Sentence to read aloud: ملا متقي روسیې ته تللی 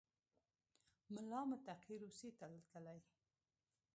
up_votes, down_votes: 1, 2